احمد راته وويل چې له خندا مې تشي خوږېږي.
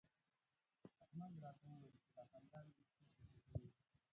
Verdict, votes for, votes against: rejected, 0, 2